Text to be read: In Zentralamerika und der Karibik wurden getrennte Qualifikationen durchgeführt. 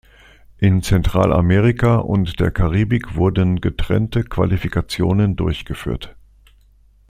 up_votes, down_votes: 2, 0